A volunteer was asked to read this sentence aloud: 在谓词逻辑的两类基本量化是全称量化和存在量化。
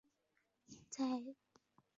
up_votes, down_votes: 0, 6